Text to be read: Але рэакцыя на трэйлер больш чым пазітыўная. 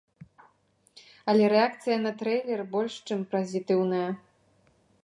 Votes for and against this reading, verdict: 0, 2, rejected